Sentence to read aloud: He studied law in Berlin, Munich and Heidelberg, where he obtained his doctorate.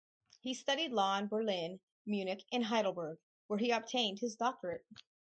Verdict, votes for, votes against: rejected, 0, 2